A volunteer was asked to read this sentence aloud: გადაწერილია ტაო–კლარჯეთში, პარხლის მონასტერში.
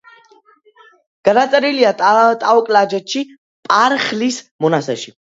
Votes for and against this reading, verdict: 1, 2, rejected